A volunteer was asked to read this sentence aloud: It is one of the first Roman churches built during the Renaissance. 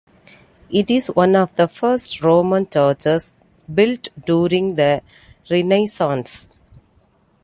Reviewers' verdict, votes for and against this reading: accepted, 2, 1